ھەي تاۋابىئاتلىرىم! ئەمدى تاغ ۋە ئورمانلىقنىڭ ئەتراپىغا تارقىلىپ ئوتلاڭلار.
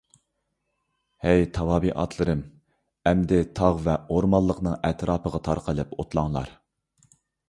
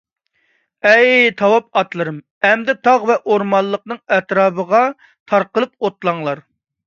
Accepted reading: first